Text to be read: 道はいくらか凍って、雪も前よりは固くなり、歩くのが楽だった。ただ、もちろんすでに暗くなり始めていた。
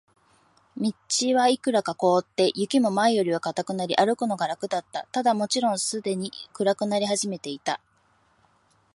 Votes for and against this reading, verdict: 2, 1, accepted